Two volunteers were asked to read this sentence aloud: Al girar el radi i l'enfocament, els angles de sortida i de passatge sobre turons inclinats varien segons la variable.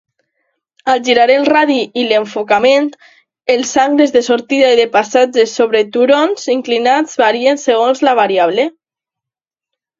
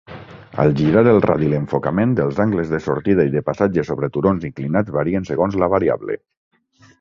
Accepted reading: first